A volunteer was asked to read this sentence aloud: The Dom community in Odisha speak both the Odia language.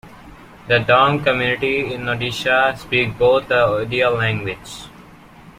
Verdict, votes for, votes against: rejected, 1, 2